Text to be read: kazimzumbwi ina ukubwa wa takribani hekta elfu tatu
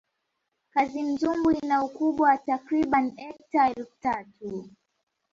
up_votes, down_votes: 2, 0